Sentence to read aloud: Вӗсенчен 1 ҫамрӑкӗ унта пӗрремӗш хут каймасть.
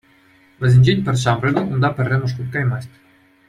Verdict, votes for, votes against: rejected, 0, 2